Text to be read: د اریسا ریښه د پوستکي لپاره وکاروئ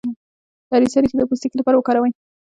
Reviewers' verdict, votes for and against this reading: rejected, 1, 2